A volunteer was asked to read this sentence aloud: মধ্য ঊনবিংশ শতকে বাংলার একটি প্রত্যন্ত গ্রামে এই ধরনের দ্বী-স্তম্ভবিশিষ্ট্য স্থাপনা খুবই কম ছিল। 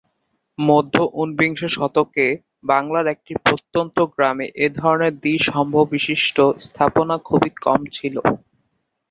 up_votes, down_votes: 0, 9